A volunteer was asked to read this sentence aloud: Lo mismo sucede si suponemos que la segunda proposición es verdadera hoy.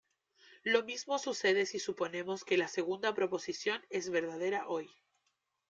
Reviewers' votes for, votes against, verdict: 2, 0, accepted